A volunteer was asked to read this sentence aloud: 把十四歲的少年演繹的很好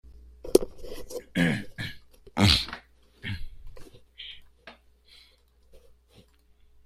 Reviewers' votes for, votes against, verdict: 0, 2, rejected